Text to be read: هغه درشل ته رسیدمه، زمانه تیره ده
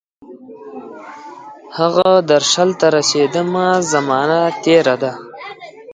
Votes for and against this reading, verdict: 1, 2, rejected